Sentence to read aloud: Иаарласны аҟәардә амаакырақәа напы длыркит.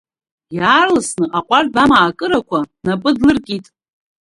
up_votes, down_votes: 1, 2